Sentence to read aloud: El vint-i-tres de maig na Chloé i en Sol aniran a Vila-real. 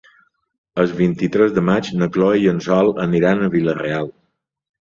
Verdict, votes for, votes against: accepted, 2, 0